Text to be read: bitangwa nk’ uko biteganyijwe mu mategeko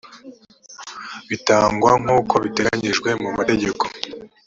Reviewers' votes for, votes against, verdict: 2, 0, accepted